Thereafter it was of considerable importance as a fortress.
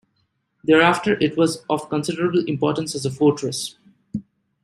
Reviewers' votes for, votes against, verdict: 2, 0, accepted